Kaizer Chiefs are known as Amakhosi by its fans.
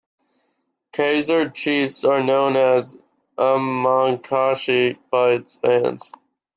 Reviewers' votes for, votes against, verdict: 1, 2, rejected